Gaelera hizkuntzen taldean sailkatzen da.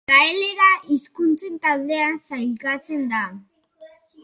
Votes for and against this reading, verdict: 2, 0, accepted